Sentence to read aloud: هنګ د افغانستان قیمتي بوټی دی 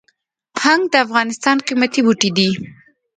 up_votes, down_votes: 2, 1